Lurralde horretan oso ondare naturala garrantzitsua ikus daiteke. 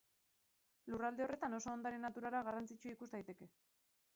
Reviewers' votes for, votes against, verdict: 0, 2, rejected